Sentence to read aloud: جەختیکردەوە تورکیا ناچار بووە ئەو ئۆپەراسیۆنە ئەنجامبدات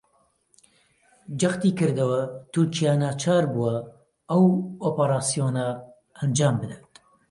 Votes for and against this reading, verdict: 2, 0, accepted